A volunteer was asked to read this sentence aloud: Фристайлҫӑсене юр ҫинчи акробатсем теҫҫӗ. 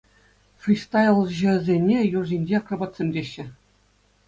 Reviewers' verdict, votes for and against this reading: accepted, 2, 0